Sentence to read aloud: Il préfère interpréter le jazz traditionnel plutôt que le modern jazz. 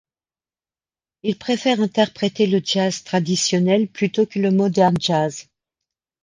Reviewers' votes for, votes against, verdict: 2, 0, accepted